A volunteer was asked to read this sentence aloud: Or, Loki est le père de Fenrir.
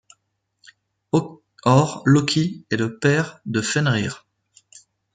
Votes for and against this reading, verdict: 1, 2, rejected